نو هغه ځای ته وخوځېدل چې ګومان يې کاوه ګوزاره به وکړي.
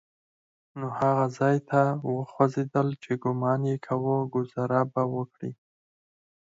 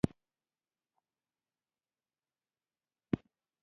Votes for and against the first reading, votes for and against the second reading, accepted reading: 6, 2, 0, 2, first